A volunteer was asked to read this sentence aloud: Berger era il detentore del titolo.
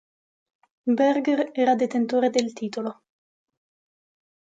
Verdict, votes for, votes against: rejected, 0, 2